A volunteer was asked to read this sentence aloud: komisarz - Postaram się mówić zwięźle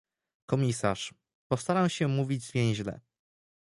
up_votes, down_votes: 2, 0